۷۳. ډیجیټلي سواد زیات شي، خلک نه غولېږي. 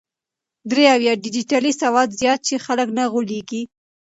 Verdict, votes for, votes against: rejected, 0, 2